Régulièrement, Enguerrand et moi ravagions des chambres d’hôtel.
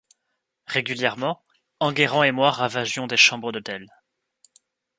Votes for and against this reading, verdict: 2, 0, accepted